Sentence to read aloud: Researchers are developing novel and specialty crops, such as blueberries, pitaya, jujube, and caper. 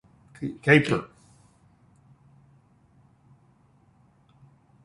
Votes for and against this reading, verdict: 0, 2, rejected